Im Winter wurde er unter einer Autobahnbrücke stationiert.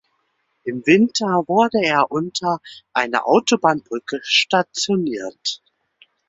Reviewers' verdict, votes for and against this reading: accepted, 2, 0